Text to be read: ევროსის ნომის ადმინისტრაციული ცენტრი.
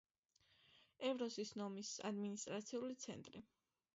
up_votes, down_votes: 2, 0